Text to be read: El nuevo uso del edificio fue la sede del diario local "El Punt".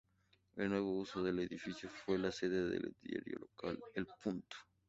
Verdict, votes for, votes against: rejected, 0, 2